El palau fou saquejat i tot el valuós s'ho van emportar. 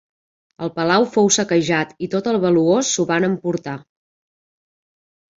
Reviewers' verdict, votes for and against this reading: accepted, 2, 0